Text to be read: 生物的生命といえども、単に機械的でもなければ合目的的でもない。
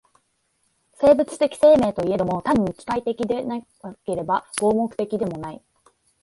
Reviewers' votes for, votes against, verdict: 2, 0, accepted